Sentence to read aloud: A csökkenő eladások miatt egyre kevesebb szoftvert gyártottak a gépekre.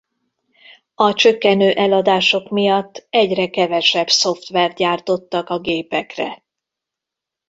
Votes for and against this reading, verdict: 2, 0, accepted